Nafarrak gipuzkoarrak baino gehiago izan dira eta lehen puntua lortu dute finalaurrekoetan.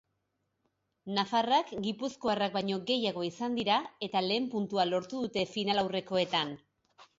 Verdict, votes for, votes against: accepted, 3, 0